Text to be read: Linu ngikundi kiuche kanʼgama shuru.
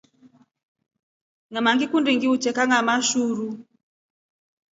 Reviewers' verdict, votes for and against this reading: rejected, 2, 3